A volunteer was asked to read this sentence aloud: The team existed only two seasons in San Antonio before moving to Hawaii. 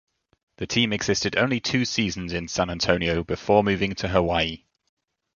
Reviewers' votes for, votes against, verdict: 2, 0, accepted